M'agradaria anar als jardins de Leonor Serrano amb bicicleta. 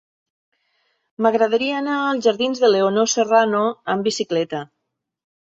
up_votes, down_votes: 2, 0